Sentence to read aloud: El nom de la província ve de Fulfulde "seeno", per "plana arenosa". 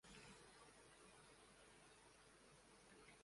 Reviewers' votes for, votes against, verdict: 0, 2, rejected